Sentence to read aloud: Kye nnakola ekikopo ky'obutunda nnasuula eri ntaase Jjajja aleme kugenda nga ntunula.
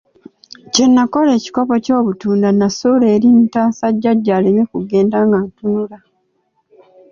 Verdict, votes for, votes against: rejected, 1, 2